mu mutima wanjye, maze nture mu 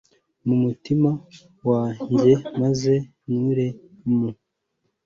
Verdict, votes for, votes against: accepted, 2, 0